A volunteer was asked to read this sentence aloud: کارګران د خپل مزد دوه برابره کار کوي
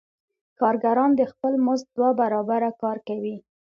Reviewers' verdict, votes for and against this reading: accepted, 2, 0